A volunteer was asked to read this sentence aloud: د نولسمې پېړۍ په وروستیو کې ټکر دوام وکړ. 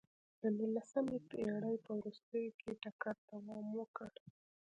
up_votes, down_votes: 2, 0